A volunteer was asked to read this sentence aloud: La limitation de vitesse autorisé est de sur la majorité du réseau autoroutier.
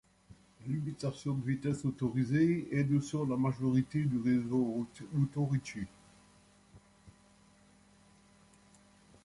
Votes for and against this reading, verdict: 1, 2, rejected